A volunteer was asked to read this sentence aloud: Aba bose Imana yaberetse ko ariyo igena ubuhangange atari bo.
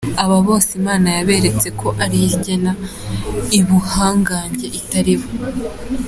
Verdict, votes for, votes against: rejected, 0, 3